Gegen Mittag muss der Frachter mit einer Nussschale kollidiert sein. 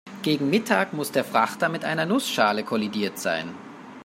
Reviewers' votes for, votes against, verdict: 2, 0, accepted